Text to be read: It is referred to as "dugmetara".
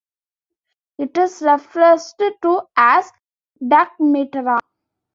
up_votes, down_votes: 1, 2